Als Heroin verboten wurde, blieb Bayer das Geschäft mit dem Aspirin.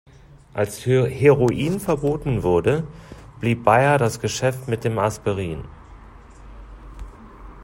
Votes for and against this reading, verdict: 1, 2, rejected